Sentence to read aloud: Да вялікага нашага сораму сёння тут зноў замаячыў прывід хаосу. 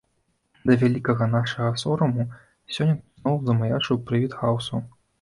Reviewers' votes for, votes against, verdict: 1, 2, rejected